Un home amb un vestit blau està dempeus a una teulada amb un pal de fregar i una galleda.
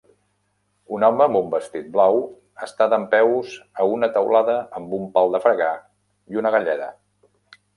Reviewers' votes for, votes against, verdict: 3, 0, accepted